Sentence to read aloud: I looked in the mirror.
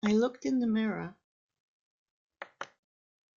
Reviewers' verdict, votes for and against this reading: accepted, 2, 0